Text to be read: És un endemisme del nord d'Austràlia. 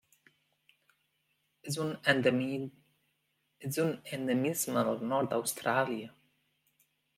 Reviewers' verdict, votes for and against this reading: rejected, 0, 2